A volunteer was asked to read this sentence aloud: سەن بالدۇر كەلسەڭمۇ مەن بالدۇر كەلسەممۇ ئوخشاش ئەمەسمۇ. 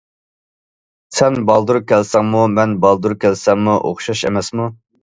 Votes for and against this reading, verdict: 2, 0, accepted